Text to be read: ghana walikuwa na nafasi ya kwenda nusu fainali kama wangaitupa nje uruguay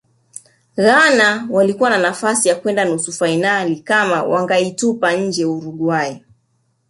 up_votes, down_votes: 3, 1